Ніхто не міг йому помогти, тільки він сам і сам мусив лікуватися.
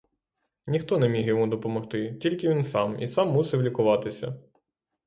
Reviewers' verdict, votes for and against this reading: rejected, 0, 6